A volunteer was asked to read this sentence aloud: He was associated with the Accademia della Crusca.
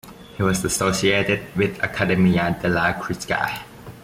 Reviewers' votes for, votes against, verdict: 0, 2, rejected